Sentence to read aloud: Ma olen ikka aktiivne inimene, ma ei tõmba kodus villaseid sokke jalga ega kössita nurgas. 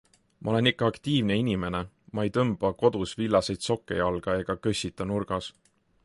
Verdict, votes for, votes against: accepted, 3, 0